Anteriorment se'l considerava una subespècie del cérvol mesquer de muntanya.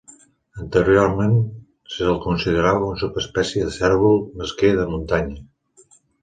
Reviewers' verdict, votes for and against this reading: accepted, 2, 0